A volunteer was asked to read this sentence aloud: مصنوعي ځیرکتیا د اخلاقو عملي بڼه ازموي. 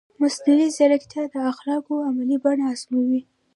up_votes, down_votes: 2, 1